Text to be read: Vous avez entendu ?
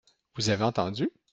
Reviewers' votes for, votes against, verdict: 2, 0, accepted